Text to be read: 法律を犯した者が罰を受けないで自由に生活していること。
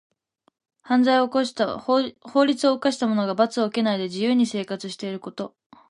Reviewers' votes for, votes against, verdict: 1, 2, rejected